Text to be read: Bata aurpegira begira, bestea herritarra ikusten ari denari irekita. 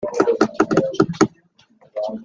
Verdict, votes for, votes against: rejected, 0, 2